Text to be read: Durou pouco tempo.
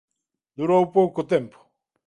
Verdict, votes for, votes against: accepted, 2, 0